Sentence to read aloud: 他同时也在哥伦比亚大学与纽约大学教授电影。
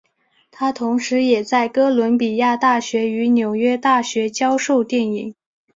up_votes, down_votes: 3, 1